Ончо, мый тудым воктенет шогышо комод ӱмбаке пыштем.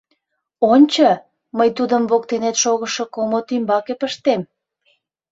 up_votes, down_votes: 2, 0